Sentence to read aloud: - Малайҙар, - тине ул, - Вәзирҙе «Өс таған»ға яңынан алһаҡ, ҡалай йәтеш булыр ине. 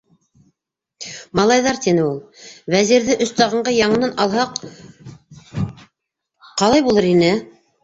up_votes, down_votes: 0, 2